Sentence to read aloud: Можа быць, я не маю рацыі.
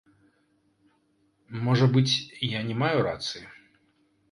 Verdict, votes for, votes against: rejected, 0, 2